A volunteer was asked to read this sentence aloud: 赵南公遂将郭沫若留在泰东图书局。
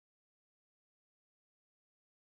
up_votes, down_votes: 0, 6